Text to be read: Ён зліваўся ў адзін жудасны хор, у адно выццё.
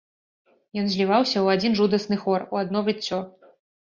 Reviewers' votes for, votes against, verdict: 1, 2, rejected